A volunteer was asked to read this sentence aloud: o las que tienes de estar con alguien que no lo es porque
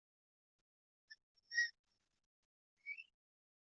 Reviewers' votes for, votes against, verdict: 0, 2, rejected